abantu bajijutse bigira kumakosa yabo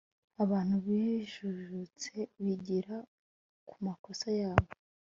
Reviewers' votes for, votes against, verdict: 2, 0, accepted